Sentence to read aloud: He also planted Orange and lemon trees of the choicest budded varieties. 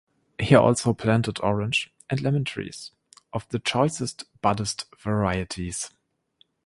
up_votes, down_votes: 0, 2